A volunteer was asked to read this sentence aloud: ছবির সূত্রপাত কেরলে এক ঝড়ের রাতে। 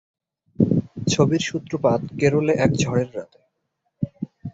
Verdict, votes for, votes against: rejected, 4, 4